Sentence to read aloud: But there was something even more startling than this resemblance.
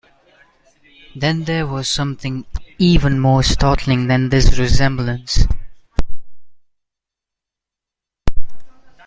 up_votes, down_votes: 1, 2